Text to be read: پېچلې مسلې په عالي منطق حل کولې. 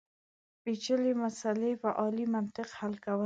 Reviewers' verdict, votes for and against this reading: rejected, 1, 2